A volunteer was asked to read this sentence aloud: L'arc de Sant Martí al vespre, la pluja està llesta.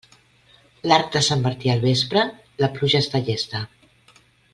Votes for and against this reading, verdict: 2, 0, accepted